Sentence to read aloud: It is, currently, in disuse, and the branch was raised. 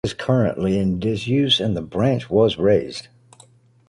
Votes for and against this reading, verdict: 1, 2, rejected